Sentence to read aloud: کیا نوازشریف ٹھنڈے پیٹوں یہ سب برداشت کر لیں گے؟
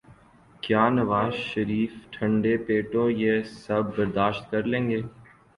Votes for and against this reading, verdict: 4, 0, accepted